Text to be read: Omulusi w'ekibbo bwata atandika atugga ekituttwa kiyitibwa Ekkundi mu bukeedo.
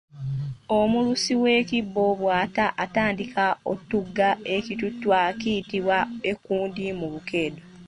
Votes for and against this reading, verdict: 0, 2, rejected